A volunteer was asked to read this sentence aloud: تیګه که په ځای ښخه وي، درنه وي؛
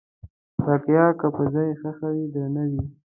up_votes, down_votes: 1, 2